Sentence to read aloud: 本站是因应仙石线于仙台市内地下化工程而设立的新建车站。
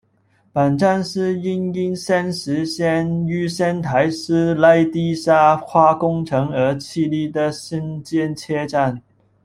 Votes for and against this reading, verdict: 0, 2, rejected